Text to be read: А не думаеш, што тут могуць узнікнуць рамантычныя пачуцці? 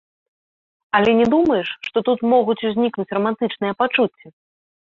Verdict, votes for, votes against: rejected, 1, 2